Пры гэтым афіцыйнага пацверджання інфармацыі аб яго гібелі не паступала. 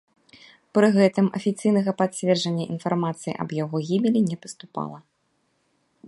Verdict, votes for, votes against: accepted, 2, 0